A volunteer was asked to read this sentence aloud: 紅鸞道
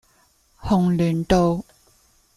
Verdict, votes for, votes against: accepted, 2, 0